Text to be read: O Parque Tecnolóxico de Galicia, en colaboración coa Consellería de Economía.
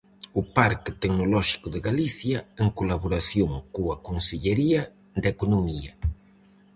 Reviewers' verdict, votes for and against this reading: accepted, 4, 0